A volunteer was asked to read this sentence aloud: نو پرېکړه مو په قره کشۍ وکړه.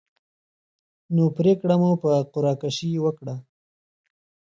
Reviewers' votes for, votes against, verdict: 2, 0, accepted